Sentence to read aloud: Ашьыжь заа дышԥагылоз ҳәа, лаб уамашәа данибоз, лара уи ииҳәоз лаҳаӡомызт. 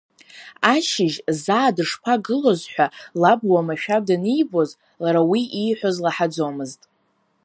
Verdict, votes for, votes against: accepted, 2, 1